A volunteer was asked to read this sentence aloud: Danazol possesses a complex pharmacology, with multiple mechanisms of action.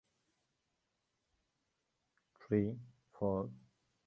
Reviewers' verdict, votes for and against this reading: rejected, 0, 2